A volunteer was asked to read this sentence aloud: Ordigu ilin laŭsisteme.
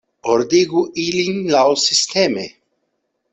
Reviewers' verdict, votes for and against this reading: accepted, 2, 0